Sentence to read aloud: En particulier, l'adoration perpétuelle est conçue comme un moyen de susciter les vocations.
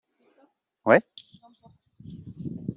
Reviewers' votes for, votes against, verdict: 0, 2, rejected